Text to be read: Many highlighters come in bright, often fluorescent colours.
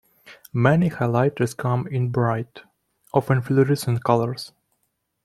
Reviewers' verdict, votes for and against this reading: accepted, 2, 1